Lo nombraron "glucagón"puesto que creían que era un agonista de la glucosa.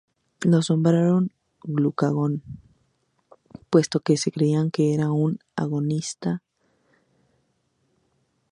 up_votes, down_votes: 0, 2